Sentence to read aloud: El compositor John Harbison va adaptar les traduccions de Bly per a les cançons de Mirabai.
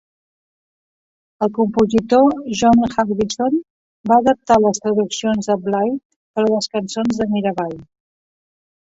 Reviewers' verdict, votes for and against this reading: accepted, 2, 0